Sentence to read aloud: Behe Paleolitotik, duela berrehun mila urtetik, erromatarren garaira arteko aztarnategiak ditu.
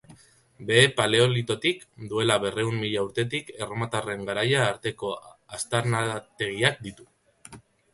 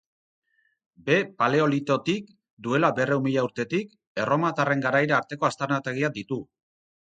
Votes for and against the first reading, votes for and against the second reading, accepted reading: 0, 2, 6, 0, second